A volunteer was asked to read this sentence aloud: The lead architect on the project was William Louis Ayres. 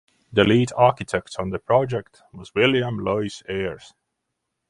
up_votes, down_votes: 6, 0